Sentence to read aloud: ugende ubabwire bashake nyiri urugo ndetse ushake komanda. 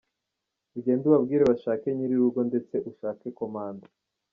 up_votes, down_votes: 2, 0